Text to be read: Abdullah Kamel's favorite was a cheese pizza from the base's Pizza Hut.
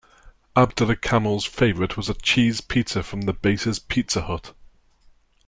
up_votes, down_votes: 2, 0